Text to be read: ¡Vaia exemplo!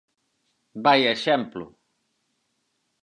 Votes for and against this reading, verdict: 4, 0, accepted